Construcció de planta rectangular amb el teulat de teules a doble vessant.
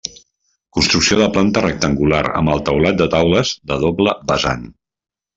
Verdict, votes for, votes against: rejected, 1, 2